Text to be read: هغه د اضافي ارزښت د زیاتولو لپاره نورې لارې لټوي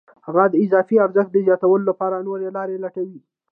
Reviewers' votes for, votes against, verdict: 2, 0, accepted